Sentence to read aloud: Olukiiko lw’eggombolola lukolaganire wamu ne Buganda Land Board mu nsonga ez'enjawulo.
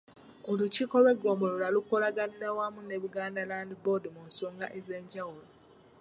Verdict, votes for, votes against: rejected, 2, 3